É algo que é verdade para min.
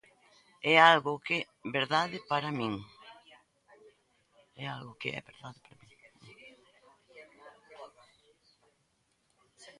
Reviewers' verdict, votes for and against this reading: rejected, 0, 2